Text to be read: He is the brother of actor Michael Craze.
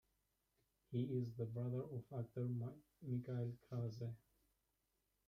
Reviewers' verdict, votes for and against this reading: rejected, 0, 2